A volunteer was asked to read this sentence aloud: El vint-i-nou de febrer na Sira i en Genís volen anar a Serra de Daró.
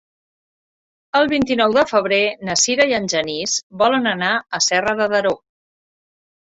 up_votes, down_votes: 4, 0